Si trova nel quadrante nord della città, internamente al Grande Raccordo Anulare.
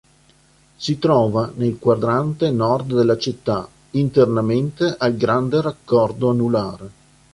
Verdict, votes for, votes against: accepted, 2, 0